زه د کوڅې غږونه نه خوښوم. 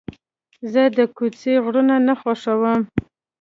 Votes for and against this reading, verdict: 2, 3, rejected